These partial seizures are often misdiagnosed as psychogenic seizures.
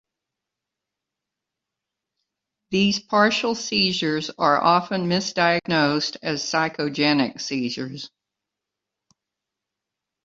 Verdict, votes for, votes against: accepted, 2, 0